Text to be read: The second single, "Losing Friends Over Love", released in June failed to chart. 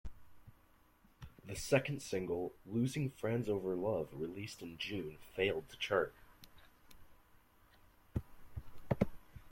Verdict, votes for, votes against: accepted, 2, 0